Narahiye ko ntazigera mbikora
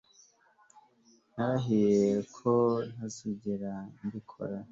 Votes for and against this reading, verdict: 2, 0, accepted